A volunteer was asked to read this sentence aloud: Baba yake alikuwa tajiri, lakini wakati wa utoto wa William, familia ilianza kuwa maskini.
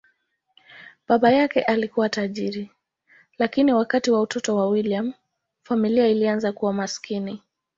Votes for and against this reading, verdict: 2, 0, accepted